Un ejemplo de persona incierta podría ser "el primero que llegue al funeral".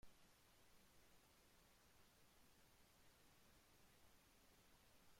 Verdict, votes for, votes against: rejected, 0, 2